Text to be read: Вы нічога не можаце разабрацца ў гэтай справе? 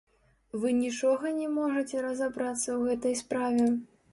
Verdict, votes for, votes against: rejected, 1, 2